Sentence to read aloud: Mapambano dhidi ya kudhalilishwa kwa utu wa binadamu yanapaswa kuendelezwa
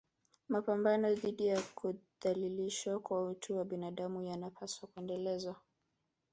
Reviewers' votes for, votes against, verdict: 0, 2, rejected